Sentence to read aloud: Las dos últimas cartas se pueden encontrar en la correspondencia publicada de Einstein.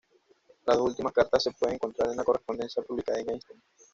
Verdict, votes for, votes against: rejected, 1, 2